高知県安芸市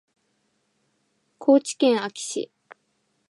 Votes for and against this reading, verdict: 0, 2, rejected